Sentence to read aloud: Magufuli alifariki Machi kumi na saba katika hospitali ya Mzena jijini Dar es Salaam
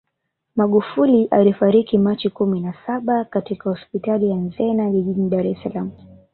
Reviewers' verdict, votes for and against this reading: accepted, 2, 1